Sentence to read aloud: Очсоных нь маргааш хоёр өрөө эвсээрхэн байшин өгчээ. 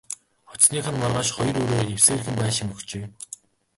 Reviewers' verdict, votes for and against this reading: rejected, 0, 2